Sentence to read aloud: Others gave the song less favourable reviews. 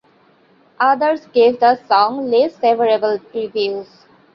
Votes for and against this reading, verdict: 0, 2, rejected